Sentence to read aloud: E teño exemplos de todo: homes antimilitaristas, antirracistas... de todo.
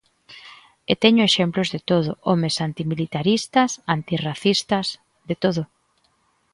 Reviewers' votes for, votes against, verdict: 2, 0, accepted